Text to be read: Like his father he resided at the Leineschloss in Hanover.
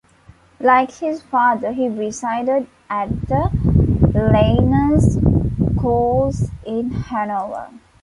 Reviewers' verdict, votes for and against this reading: rejected, 1, 2